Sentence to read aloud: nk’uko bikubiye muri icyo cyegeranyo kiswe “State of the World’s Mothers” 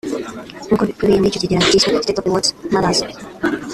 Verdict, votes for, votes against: rejected, 0, 2